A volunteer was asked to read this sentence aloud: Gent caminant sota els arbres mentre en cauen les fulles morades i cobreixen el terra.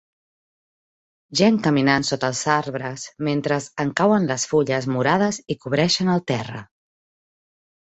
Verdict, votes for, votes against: rejected, 0, 2